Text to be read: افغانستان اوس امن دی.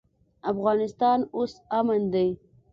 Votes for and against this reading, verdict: 2, 0, accepted